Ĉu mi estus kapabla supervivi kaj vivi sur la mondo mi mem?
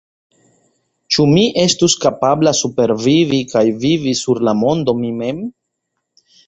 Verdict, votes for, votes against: accepted, 2, 0